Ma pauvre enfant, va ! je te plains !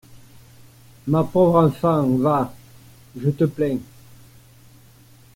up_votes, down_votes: 2, 0